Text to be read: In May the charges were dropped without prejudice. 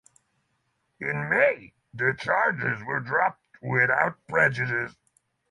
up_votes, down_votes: 3, 6